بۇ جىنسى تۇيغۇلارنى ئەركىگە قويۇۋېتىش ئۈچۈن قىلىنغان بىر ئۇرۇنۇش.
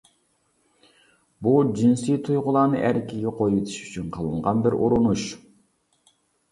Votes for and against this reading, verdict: 0, 2, rejected